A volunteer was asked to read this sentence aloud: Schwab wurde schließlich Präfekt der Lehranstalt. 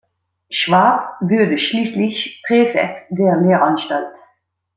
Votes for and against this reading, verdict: 0, 2, rejected